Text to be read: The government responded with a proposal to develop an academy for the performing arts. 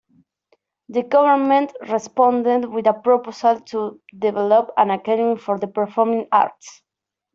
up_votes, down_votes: 2, 0